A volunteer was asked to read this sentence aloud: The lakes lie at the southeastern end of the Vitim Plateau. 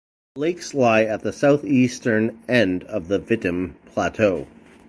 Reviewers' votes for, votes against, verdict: 0, 2, rejected